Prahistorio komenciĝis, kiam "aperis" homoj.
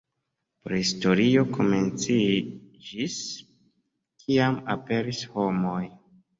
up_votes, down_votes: 2, 0